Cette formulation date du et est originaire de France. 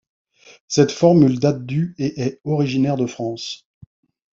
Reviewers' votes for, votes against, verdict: 0, 2, rejected